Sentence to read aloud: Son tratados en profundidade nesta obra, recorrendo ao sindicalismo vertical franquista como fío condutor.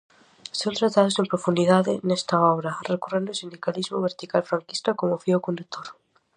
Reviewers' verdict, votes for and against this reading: accepted, 2, 0